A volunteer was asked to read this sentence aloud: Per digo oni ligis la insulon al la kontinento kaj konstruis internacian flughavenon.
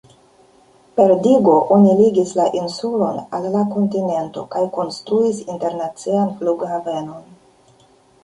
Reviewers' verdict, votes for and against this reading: rejected, 1, 2